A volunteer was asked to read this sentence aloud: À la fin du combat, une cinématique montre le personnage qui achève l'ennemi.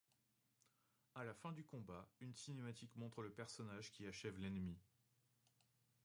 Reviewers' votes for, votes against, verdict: 0, 2, rejected